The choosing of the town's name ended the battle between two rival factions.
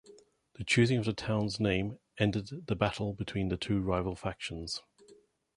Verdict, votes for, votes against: rejected, 1, 2